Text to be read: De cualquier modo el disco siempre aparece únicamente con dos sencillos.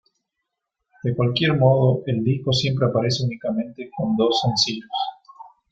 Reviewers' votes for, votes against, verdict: 2, 0, accepted